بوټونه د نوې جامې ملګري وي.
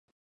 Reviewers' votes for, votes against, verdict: 0, 2, rejected